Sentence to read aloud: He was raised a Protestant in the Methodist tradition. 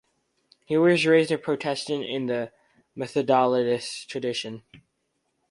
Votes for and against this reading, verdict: 0, 4, rejected